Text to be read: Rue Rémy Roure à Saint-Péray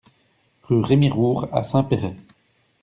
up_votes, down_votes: 2, 0